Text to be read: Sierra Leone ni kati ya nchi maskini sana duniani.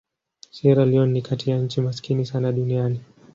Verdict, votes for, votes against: accepted, 2, 0